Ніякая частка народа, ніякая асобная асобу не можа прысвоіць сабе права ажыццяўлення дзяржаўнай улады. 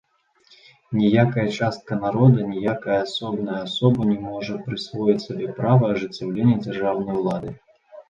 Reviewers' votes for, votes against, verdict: 2, 1, accepted